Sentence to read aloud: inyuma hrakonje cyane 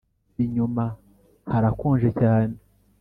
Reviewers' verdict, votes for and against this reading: accepted, 5, 0